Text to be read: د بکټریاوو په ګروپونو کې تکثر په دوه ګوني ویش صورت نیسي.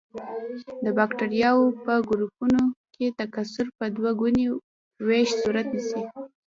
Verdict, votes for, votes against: rejected, 0, 2